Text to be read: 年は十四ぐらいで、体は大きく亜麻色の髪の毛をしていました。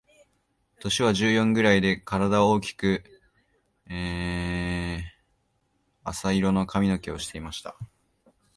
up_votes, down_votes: 1, 2